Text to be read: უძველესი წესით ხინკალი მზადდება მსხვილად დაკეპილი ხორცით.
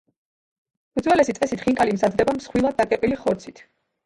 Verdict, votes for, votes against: accepted, 2, 1